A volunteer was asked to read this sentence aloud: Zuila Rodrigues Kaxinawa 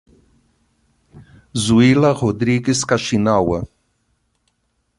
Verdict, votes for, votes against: accepted, 2, 0